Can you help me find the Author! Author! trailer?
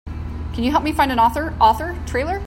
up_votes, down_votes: 2, 0